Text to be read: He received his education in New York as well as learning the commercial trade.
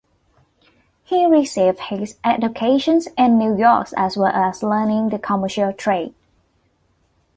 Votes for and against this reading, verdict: 1, 2, rejected